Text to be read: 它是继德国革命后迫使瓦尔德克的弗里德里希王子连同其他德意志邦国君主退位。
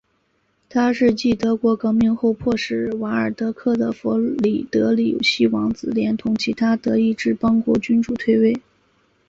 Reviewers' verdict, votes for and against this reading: accepted, 2, 0